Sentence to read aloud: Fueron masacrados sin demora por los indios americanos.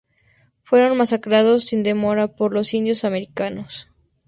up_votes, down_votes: 4, 0